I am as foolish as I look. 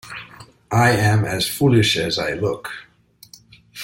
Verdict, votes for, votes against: accepted, 2, 0